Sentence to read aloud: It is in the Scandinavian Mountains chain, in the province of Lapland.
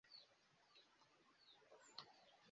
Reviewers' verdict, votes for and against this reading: rejected, 0, 2